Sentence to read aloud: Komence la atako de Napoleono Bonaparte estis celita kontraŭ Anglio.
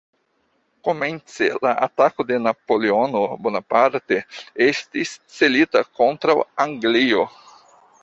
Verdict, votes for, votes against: accepted, 2, 0